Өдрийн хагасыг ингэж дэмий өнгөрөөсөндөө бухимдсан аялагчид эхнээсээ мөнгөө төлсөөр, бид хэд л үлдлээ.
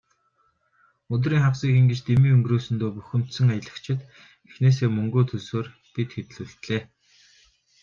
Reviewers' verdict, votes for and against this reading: accepted, 3, 0